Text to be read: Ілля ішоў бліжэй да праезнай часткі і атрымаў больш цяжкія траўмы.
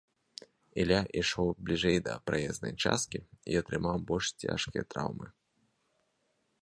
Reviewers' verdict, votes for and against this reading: accepted, 2, 0